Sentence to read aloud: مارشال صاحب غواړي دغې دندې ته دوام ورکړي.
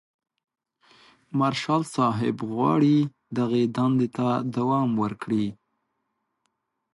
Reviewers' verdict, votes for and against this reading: accepted, 2, 0